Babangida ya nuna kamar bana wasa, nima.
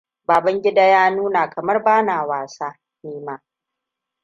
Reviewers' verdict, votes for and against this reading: accepted, 2, 0